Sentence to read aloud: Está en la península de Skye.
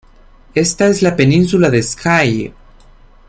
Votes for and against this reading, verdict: 0, 2, rejected